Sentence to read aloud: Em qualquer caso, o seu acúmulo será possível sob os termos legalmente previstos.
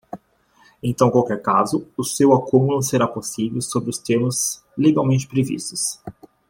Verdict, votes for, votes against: rejected, 1, 2